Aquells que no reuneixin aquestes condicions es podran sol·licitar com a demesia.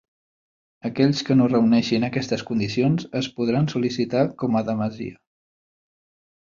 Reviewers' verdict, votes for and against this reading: rejected, 0, 2